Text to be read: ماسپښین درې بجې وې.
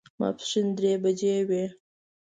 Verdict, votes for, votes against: accepted, 2, 0